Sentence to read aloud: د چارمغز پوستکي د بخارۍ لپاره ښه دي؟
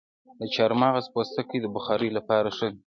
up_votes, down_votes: 1, 2